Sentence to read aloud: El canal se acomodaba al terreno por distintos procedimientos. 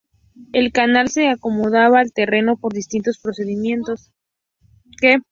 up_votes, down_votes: 2, 0